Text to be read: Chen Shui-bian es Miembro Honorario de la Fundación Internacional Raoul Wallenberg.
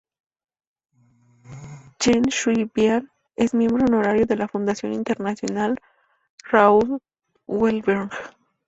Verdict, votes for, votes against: accepted, 4, 0